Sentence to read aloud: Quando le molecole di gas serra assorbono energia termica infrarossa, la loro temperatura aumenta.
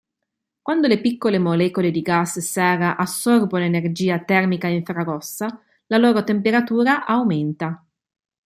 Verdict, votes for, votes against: rejected, 0, 2